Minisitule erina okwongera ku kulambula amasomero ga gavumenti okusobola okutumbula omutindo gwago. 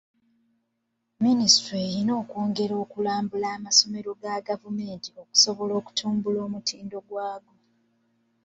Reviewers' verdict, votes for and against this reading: accepted, 2, 1